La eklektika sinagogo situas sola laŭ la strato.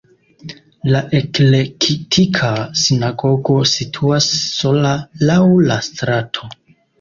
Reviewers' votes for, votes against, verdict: 1, 2, rejected